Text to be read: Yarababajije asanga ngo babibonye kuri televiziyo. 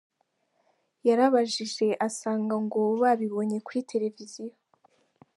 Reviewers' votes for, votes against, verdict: 3, 1, accepted